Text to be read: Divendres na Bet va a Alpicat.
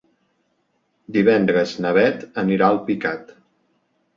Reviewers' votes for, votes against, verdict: 0, 2, rejected